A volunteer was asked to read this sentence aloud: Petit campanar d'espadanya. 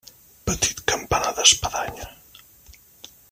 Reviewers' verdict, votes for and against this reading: rejected, 1, 2